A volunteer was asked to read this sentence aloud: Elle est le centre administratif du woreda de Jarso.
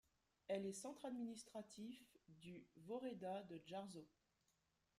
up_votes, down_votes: 0, 2